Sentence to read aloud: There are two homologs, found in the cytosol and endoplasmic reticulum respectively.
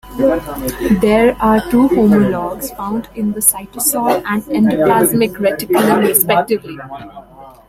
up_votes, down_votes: 1, 2